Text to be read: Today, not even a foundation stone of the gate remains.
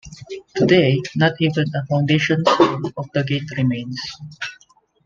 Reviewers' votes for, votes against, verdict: 0, 2, rejected